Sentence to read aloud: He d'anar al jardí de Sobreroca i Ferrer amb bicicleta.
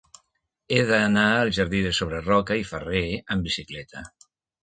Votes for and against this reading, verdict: 3, 0, accepted